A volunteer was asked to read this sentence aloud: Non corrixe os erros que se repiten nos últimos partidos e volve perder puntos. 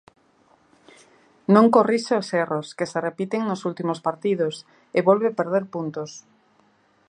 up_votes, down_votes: 2, 0